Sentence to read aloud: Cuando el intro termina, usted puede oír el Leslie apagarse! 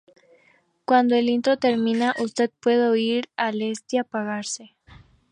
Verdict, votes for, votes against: accepted, 2, 0